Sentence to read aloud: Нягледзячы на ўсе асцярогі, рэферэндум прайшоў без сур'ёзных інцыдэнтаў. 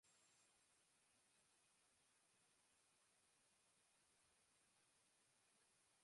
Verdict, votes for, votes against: rejected, 0, 2